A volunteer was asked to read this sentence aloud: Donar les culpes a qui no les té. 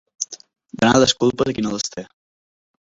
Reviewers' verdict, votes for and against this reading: rejected, 0, 2